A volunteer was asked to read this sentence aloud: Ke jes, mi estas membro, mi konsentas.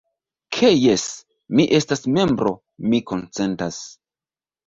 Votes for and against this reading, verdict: 0, 2, rejected